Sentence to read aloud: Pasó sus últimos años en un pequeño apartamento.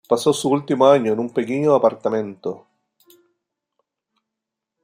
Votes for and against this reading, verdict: 0, 2, rejected